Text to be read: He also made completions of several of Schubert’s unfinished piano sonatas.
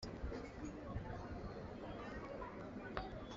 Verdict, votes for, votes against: rejected, 0, 2